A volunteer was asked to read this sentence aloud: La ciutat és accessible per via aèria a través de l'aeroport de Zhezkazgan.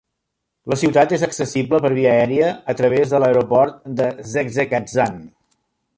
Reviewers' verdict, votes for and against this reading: rejected, 1, 2